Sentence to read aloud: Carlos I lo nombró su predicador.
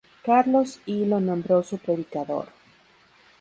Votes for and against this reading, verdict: 0, 4, rejected